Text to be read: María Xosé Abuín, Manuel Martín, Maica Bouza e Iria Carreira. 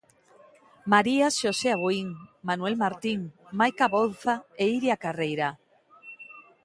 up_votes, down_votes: 3, 0